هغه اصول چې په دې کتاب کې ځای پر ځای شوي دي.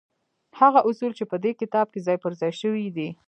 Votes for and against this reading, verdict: 2, 0, accepted